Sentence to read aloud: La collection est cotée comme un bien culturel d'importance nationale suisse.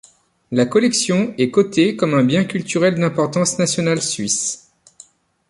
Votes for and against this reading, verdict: 2, 0, accepted